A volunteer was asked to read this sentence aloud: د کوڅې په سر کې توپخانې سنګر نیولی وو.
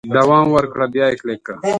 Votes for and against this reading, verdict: 0, 2, rejected